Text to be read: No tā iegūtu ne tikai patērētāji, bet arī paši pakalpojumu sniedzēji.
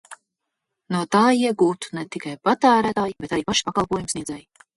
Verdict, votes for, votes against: rejected, 0, 2